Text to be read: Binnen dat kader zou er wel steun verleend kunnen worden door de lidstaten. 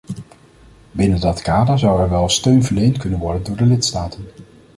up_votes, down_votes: 2, 0